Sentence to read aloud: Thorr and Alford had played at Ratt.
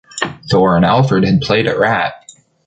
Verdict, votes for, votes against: rejected, 0, 2